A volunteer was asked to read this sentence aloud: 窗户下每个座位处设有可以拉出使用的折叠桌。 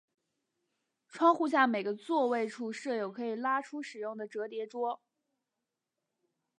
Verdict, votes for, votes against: accepted, 2, 0